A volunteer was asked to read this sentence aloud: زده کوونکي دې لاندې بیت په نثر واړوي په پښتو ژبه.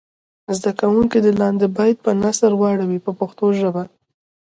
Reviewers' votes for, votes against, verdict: 2, 1, accepted